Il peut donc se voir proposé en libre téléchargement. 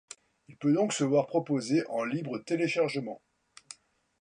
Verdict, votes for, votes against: accepted, 2, 0